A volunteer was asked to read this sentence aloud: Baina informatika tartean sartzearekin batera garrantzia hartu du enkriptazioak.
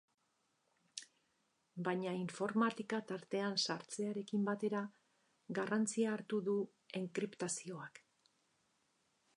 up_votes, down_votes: 2, 2